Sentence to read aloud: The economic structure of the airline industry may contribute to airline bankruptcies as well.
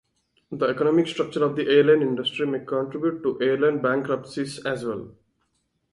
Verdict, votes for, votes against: rejected, 0, 2